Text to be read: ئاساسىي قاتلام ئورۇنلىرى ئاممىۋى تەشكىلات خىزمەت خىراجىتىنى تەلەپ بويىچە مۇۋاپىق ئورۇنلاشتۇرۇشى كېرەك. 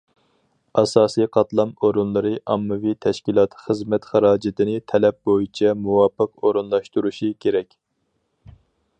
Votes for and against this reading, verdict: 4, 0, accepted